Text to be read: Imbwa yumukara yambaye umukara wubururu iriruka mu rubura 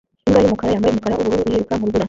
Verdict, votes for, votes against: rejected, 0, 2